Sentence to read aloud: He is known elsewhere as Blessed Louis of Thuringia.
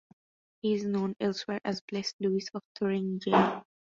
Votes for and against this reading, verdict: 2, 0, accepted